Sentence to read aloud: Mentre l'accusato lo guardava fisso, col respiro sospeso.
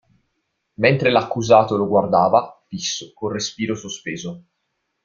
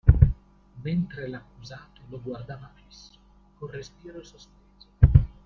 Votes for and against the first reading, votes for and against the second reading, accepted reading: 0, 2, 2, 1, second